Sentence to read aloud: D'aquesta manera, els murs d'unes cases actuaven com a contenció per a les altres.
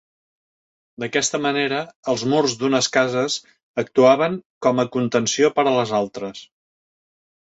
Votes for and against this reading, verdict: 3, 0, accepted